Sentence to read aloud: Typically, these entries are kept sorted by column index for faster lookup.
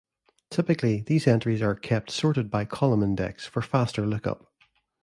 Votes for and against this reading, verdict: 2, 0, accepted